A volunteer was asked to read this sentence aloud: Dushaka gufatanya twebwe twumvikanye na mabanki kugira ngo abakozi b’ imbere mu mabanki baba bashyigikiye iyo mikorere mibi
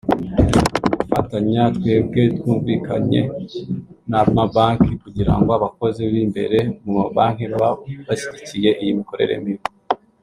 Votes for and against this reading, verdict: 2, 3, rejected